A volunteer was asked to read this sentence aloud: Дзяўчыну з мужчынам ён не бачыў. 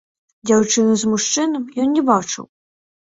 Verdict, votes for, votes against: rejected, 0, 2